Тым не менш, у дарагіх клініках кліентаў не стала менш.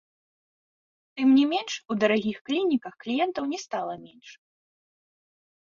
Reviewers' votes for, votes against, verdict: 3, 0, accepted